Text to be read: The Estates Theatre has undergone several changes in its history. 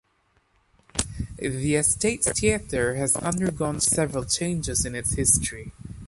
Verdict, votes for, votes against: accepted, 2, 0